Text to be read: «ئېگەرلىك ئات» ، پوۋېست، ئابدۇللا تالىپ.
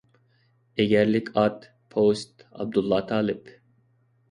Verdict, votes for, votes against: accepted, 2, 0